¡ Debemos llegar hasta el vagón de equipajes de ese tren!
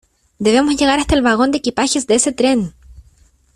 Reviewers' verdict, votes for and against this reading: accepted, 2, 0